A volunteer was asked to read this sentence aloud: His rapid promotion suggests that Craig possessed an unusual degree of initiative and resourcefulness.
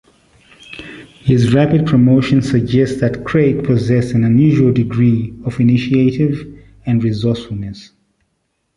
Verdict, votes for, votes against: accepted, 2, 1